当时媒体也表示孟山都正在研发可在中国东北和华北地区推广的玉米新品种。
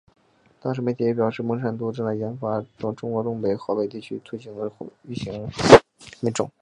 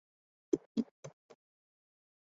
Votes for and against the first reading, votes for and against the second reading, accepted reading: 2, 0, 0, 2, first